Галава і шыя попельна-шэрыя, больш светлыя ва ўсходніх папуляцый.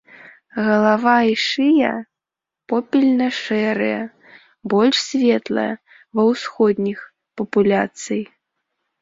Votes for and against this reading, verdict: 2, 0, accepted